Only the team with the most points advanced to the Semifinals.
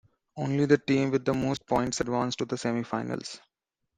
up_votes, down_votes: 1, 2